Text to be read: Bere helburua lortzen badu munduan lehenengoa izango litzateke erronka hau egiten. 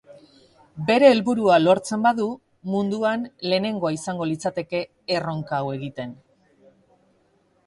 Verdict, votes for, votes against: accepted, 4, 1